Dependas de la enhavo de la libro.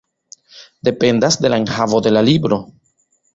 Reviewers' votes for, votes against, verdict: 2, 0, accepted